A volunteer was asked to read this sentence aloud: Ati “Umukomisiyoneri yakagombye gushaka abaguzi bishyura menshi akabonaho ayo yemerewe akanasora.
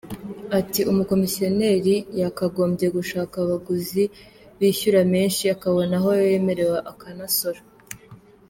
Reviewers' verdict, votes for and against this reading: accepted, 2, 0